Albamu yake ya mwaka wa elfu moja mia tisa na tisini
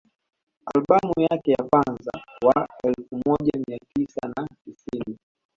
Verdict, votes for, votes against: accepted, 2, 0